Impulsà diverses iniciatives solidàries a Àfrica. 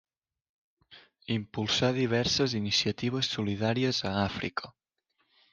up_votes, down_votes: 3, 0